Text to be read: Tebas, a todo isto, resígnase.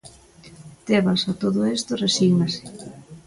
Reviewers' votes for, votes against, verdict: 1, 2, rejected